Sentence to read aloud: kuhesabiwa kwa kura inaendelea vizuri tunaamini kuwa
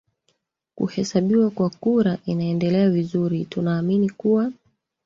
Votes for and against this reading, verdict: 2, 1, accepted